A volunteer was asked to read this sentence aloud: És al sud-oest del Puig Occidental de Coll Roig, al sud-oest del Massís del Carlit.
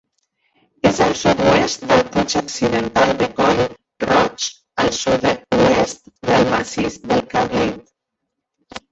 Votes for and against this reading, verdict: 1, 2, rejected